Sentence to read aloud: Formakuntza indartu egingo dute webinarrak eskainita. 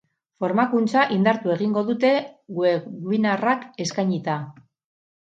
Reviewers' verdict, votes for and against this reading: accepted, 4, 0